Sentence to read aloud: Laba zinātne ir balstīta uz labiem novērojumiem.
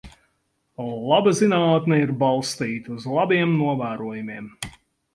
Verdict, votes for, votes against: accepted, 4, 0